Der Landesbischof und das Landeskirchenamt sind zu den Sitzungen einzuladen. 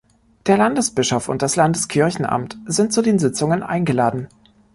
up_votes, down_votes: 1, 2